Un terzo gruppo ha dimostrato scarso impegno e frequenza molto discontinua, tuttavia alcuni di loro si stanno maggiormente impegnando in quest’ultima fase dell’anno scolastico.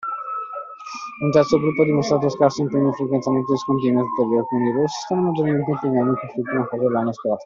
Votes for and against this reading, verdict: 0, 2, rejected